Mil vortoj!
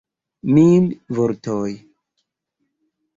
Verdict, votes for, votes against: rejected, 1, 2